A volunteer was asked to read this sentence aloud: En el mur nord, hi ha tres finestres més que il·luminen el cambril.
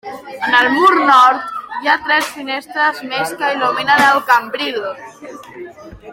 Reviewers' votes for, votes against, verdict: 1, 2, rejected